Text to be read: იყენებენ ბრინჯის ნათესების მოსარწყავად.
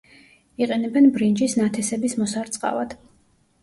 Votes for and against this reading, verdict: 2, 0, accepted